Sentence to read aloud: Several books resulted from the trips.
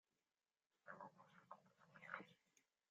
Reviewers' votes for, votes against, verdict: 0, 2, rejected